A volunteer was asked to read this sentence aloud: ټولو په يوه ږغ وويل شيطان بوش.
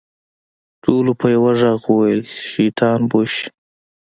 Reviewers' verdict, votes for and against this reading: accepted, 2, 0